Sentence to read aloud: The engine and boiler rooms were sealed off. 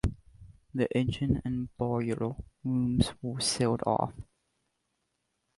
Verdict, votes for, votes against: rejected, 1, 2